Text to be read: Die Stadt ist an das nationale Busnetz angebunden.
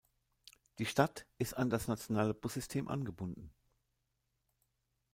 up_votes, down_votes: 0, 2